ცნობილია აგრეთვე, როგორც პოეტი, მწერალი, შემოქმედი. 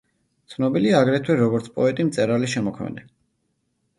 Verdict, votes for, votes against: accepted, 2, 0